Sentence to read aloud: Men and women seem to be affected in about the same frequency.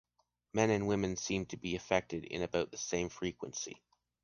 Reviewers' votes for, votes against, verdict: 2, 0, accepted